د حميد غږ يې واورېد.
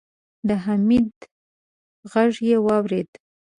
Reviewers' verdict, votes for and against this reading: accepted, 2, 0